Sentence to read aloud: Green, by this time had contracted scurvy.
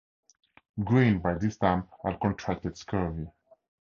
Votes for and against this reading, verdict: 2, 0, accepted